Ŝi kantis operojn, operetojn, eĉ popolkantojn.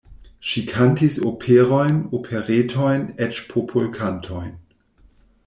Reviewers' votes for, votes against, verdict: 2, 0, accepted